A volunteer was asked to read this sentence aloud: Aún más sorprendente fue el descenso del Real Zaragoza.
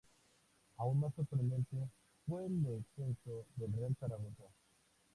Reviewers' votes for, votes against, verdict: 2, 0, accepted